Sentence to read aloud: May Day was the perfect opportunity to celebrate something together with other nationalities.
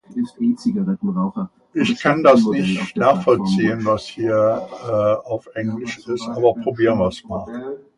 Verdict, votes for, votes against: rejected, 0, 2